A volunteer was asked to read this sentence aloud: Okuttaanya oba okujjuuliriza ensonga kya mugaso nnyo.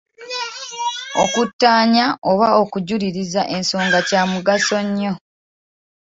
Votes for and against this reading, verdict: 1, 2, rejected